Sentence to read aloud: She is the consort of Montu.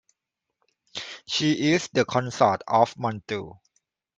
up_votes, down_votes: 2, 0